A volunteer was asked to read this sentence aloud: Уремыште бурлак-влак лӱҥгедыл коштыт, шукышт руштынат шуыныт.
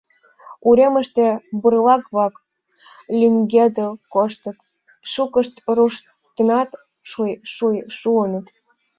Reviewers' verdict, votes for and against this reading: rejected, 1, 3